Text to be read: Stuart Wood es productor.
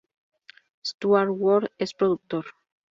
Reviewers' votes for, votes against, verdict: 0, 2, rejected